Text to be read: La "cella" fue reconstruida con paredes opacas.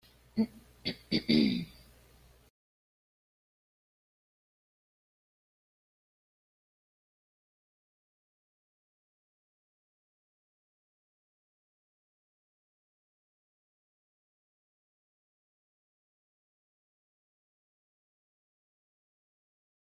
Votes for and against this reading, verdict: 0, 2, rejected